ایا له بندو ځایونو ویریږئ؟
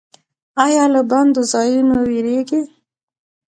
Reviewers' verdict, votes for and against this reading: rejected, 1, 2